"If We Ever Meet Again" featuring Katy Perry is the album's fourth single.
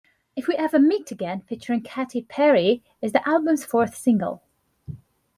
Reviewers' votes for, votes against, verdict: 2, 0, accepted